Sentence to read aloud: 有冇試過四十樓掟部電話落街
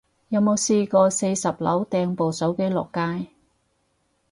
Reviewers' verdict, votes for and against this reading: rejected, 2, 2